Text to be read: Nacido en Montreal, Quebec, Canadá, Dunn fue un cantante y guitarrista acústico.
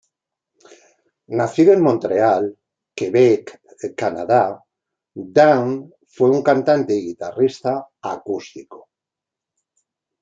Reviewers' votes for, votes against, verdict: 1, 2, rejected